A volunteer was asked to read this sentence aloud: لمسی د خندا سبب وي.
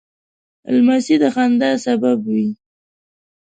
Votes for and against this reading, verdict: 1, 2, rejected